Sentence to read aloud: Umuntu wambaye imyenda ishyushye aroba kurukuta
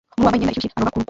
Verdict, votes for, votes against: rejected, 0, 2